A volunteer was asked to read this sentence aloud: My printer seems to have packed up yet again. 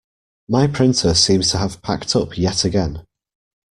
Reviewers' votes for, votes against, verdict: 1, 2, rejected